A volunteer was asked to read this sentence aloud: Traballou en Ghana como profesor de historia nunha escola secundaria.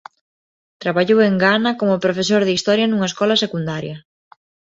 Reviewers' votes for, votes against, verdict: 2, 0, accepted